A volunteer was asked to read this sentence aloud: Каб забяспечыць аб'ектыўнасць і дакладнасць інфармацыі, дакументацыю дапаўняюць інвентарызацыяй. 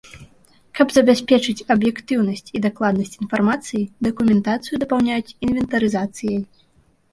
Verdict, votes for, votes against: accepted, 2, 0